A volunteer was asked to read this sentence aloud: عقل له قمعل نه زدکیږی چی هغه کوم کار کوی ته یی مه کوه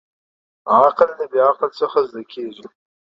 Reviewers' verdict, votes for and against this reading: rejected, 0, 2